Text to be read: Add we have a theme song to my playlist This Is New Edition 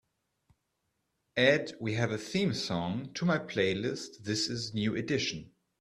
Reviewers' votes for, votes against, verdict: 2, 0, accepted